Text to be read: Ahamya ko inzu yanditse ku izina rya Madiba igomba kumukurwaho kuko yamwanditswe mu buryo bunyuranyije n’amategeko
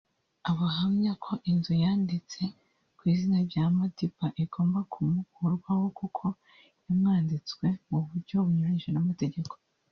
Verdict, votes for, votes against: accepted, 2, 0